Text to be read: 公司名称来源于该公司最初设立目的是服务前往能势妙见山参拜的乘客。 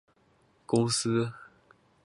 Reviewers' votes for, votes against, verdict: 2, 3, rejected